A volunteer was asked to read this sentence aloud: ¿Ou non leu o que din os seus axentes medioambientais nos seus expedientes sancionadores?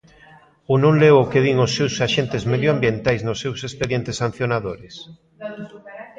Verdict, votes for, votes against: rejected, 1, 2